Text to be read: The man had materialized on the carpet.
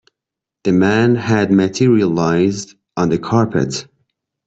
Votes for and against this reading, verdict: 2, 0, accepted